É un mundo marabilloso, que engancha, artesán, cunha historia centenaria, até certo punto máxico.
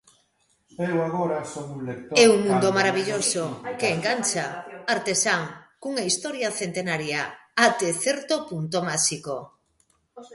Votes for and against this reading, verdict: 0, 2, rejected